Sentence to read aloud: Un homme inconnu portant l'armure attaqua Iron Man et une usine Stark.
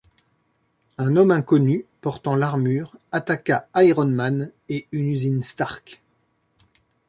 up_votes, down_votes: 2, 0